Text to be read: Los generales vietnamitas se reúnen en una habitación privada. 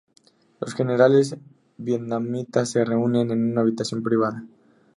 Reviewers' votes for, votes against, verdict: 2, 2, rejected